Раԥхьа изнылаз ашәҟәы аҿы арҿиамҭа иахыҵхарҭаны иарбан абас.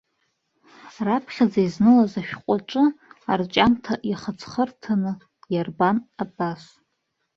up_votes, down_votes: 0, 2